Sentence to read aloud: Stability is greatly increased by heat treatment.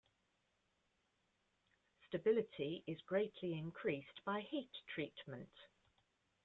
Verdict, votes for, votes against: rejected, 1, 2